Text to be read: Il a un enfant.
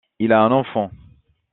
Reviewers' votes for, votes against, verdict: 2, 0, accepted